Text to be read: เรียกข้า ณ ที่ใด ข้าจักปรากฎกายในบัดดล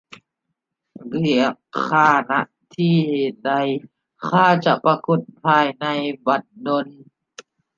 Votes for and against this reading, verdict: 0, 2, rejected